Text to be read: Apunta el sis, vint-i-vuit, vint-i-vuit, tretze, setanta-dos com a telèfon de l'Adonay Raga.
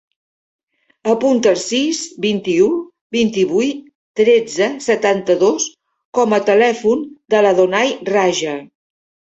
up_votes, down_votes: 0, 2